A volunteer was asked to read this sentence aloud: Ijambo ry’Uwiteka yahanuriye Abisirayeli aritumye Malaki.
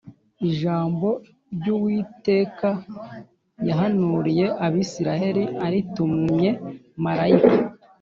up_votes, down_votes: 2, 0